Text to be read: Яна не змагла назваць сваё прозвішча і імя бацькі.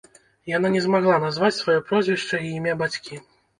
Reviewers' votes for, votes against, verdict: 0, 2, rejected